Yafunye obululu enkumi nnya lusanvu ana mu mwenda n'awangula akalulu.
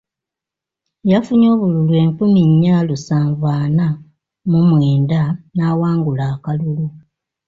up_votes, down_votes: 2, 0